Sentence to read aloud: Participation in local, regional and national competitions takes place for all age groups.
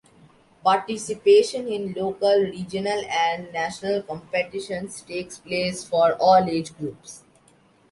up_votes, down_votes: 2, 0